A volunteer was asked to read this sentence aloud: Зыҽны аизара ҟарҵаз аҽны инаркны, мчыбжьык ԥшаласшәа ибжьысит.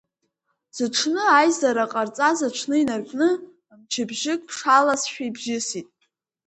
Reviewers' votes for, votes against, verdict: 5, 1, accepted